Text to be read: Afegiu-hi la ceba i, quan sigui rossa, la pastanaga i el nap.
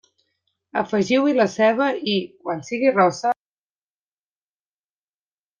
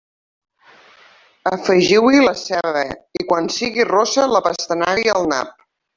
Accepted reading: second